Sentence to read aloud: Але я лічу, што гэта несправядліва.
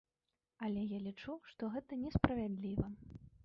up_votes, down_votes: 1, 2